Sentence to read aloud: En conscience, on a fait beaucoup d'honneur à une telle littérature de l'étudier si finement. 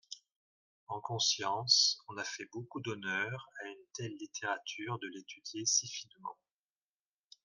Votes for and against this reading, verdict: 3, 0, accepted